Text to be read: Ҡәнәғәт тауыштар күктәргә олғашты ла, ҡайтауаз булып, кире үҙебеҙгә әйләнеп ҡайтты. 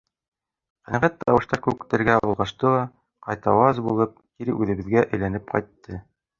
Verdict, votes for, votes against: rejected, 0, 2